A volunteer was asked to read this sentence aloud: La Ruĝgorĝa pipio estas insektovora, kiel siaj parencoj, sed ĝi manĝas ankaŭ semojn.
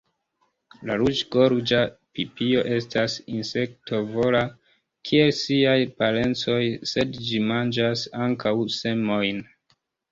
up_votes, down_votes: 2, 0